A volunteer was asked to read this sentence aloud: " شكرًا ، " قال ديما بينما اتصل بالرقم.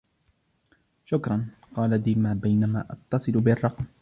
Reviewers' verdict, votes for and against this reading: rejected, 1, 2